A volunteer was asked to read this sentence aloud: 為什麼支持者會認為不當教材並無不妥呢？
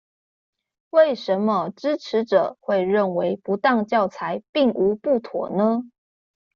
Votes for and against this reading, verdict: 2, 0, accepted